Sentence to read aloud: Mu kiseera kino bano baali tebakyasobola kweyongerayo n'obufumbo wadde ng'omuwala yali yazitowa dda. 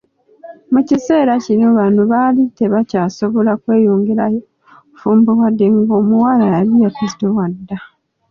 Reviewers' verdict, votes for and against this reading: accepted, 2, 1